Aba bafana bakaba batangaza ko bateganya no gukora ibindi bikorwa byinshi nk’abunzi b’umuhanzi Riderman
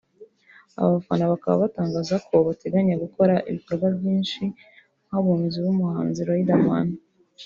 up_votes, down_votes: 1, 2